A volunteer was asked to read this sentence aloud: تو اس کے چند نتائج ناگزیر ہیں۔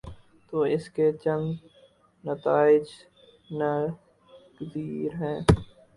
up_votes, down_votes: 2, 2